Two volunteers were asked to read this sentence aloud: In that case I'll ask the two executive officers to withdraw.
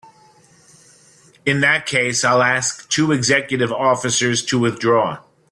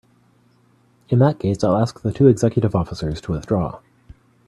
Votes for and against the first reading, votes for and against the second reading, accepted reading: 1, 3, 2, 1, second